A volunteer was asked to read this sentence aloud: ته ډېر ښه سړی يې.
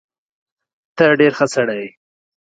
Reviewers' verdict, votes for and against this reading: accepted, 2, 0